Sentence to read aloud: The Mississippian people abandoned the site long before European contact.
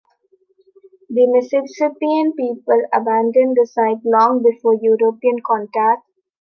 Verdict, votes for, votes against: accepted, 2, 1